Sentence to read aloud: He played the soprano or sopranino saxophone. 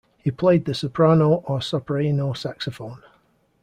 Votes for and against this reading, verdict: 1, 2, rejected